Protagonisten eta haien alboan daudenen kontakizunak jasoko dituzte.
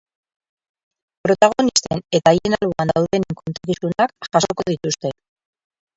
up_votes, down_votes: 0, 2